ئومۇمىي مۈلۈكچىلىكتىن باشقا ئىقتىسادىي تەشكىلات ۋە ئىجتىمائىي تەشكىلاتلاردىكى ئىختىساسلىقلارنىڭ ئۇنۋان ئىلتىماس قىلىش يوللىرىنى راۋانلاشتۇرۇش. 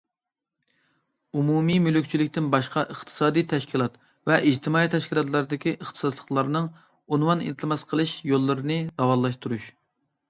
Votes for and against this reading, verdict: 2, 0, accepted